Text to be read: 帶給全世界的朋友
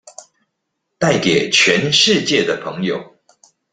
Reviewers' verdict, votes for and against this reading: accepted, 2, 0